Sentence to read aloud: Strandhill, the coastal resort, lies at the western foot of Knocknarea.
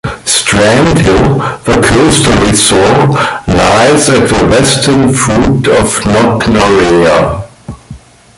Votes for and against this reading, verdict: 0, 2, rejected